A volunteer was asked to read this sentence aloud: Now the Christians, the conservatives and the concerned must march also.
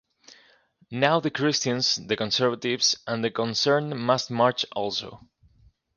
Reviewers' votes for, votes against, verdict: 2, 0, accepted